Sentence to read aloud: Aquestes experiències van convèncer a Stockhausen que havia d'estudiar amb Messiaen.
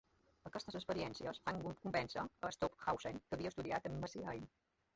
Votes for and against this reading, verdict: 0, 2, rejected